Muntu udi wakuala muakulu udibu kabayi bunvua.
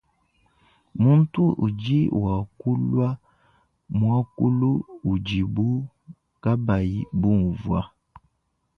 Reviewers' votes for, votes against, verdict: 2, 0, accepted